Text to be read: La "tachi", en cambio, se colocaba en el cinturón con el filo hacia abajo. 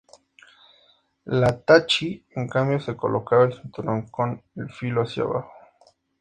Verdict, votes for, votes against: accepted, 2, 0